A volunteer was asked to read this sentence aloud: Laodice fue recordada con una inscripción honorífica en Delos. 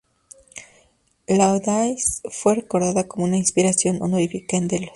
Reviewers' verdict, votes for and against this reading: rejected, 0, 2